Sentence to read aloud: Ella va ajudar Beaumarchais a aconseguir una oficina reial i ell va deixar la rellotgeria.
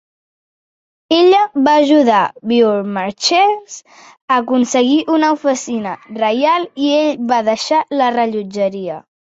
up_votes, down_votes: 1, 2